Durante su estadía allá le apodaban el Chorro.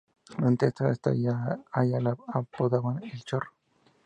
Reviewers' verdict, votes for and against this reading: rejected, 0, 2